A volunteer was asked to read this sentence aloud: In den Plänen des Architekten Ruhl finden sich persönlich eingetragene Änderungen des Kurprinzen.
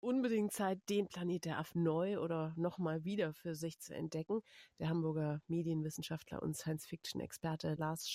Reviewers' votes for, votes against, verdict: 0, 2, rejected